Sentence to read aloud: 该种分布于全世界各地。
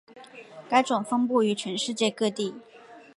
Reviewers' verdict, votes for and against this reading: accepted, 4, 1